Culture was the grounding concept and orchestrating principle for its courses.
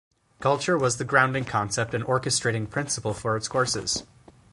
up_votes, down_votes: 16, 2